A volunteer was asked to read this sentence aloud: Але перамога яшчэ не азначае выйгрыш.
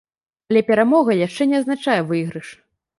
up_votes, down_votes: 1, 3